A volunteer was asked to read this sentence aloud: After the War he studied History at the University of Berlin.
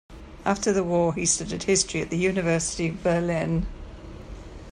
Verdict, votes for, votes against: accepted, 2, 1